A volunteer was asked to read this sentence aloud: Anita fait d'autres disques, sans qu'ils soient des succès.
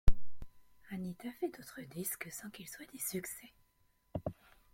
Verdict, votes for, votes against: rejected, 0, 2